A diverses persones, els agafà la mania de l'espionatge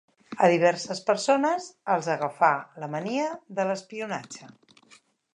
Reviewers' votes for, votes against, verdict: 3, 0, accepted